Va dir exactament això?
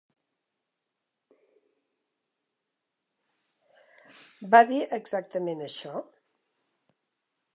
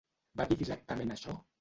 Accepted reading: first